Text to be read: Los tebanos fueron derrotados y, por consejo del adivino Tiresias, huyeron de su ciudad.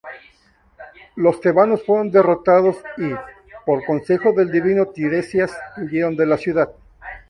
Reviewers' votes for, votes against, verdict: 2, 0, accepted